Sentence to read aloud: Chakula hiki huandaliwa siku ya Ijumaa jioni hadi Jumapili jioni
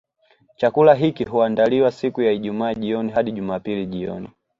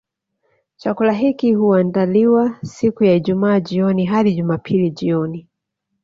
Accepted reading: first